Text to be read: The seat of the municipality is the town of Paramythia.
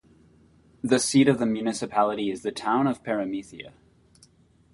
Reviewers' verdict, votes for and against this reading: accepted, 2, 0